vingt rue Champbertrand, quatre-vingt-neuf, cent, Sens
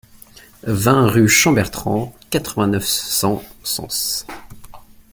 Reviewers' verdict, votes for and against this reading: rejected, 1, 2